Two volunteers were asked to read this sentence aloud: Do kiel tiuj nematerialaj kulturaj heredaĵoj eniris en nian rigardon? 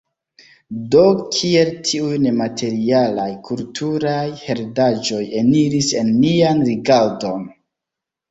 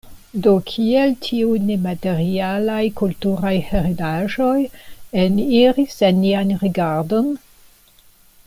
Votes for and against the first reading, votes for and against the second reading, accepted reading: 1, 2, 2, 0, second